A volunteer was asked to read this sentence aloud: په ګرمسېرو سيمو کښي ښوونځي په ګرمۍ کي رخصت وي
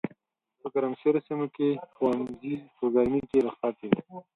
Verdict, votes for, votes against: rejected, 2, 4